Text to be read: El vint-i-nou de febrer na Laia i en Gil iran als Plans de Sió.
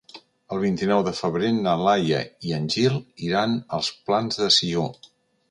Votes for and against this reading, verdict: 3, 0, accepted